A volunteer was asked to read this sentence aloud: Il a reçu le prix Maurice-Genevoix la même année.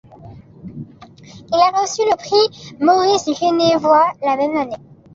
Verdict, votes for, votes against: accepted, 2, 1